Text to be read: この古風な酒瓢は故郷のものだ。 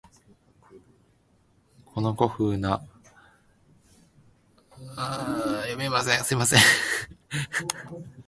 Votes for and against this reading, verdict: 0, 2, rejected